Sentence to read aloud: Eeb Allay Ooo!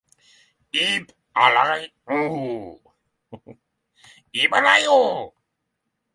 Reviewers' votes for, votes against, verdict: 0, 6, rejected